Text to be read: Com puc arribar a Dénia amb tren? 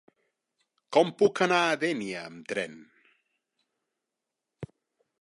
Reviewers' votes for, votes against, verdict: 1, 2, rejected